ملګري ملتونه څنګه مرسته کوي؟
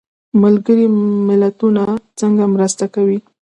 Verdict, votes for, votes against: accepted, 2, 0